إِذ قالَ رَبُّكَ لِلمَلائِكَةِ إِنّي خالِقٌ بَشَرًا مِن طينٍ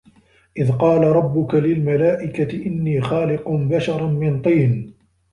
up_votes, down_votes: 2, 1